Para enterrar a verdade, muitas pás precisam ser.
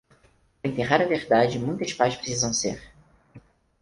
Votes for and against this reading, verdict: 0, 4, rejected